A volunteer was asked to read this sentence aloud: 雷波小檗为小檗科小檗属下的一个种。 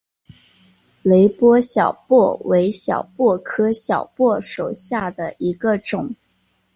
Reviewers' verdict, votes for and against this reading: accepted, 2, 1